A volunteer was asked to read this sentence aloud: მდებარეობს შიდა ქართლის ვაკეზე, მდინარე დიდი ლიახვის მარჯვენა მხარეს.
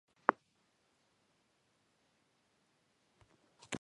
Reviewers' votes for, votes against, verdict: 0, 2, rejected